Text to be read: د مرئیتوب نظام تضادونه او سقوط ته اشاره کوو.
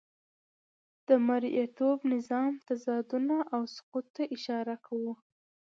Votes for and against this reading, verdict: 2, 0, accepted